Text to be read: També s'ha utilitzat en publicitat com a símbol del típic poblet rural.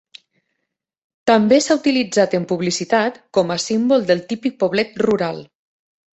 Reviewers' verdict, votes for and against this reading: accepted, 2, 0